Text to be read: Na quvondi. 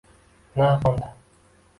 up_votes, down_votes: 2, 1